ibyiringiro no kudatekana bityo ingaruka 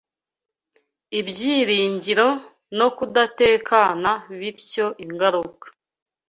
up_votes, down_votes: 2, 0